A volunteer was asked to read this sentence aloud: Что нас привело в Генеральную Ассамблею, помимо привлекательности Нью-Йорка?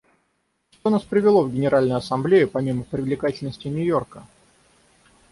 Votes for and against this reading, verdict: 6, 0, accepted